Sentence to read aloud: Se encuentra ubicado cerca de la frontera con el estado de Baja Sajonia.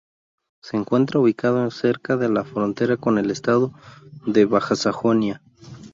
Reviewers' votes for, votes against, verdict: 0, 2, rejected